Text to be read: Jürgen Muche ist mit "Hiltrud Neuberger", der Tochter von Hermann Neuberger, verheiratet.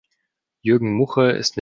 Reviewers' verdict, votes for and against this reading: rejected, 0, 2